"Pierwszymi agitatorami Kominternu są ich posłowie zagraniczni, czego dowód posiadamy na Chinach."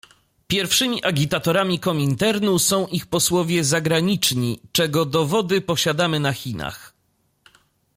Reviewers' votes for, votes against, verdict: 1, 2, rejected